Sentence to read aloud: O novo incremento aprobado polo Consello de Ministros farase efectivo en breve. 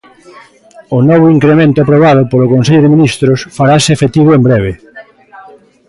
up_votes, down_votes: 2, 0